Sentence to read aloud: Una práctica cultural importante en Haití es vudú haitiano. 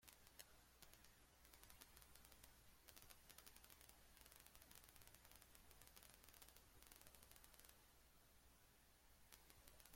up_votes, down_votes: 0, 2